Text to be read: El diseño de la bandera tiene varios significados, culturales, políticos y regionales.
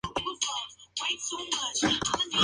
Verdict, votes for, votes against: rejected, 0, 4